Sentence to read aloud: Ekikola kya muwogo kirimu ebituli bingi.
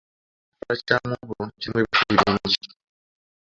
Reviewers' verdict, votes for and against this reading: rejected, 0, 2